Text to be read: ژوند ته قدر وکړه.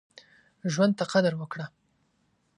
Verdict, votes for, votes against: accepted, 2, 0